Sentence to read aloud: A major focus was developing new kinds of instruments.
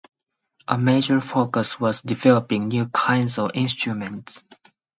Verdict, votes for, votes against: accepted, 4, 0